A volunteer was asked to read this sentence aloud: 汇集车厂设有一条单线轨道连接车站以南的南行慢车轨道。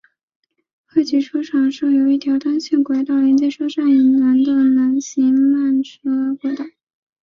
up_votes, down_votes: 1, 2